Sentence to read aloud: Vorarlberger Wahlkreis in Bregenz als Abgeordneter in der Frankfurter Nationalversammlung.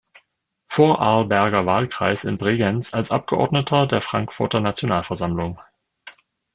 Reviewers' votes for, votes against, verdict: 0, 2, rejected